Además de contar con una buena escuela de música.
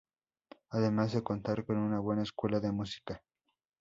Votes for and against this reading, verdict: 2, 0, accepted